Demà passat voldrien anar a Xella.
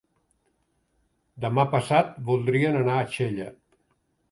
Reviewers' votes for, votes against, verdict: 3, 0, accepted